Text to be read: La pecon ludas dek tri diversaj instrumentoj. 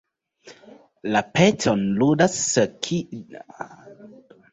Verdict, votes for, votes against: rejected, 0, 2